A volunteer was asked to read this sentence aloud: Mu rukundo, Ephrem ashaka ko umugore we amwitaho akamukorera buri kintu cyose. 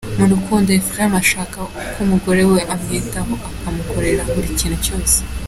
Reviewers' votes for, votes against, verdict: 2, 0, accepted